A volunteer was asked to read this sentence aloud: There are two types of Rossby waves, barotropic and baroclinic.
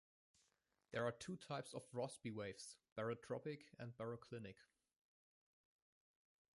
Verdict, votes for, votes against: rejected, 1, 2